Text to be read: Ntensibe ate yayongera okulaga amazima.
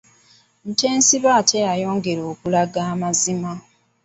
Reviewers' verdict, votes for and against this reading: rejected, 0, 2